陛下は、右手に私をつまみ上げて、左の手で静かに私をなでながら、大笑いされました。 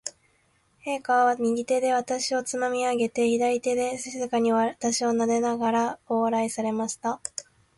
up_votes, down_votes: 2, 2